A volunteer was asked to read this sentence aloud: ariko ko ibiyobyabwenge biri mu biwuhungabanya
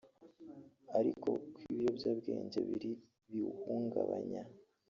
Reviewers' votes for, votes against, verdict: 3, 1, accepted